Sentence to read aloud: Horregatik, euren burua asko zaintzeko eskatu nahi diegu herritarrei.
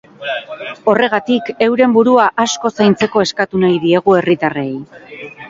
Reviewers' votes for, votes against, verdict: 2, 4, rejected